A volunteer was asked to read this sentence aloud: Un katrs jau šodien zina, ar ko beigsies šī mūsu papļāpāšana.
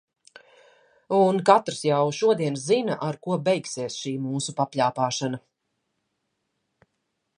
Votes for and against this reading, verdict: 2, 0, accepted